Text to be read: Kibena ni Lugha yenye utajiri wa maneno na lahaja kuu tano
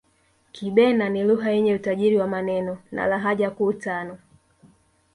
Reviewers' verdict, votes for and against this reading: accepted, 3, 0